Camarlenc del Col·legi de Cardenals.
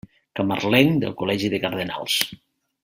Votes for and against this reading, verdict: 2, 0, accepted